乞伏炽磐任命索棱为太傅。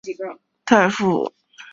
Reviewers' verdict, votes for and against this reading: rejected, 1, 2